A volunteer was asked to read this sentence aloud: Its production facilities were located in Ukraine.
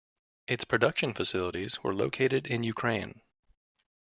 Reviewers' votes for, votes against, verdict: 2, 0, accepted